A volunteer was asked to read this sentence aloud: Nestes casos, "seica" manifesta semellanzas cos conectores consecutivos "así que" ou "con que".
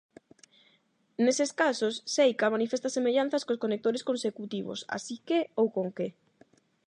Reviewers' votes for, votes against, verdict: 0, 8, rejected